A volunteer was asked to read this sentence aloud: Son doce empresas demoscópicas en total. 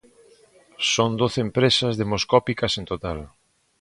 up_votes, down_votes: 2, 0